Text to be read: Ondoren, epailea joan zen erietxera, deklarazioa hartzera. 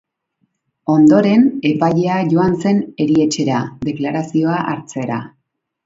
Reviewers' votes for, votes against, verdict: 2, 0, accepted